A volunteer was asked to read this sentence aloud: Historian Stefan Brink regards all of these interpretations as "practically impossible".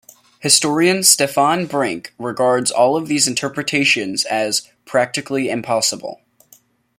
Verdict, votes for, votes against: accepted, 2, 0